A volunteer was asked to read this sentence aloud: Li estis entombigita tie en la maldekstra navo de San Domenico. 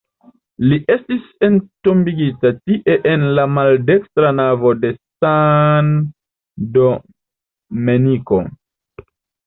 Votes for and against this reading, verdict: 2, 1, accepted